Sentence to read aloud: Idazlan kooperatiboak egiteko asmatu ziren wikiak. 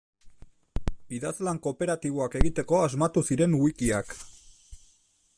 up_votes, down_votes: 2, 0